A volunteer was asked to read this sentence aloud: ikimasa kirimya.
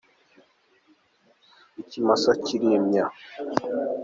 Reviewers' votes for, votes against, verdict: 2, 0, accepted